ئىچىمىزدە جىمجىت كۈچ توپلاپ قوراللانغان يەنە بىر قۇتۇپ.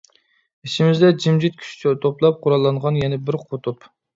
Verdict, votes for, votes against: rejected, 0, 2